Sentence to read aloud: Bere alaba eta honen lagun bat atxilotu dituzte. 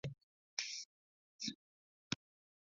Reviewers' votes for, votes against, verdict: 0, 2, rejected